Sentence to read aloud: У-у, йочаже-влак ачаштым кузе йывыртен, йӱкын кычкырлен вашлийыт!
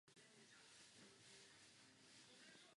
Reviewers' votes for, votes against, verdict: 1, 2, rejected